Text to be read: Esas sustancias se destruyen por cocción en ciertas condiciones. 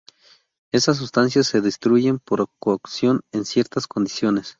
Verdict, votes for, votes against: rejected, 0, 2